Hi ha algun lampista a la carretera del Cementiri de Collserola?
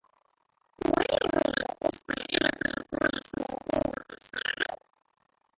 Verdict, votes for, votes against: rejected, 0, 2